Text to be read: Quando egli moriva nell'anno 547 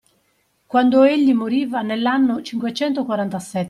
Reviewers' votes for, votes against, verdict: 0, 2, rejected